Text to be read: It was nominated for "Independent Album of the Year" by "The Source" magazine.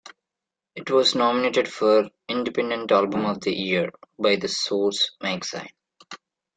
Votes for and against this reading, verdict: 2, 0, accepted